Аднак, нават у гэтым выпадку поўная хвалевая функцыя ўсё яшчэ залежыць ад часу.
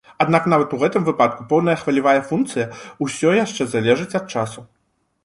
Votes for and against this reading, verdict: 1, 2, rejected